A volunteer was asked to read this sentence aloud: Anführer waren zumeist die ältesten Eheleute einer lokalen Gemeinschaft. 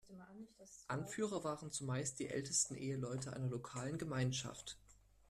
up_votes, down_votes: 1, 2